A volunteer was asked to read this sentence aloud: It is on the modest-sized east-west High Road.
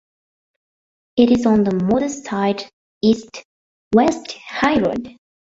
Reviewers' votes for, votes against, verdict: 1, 2, rejected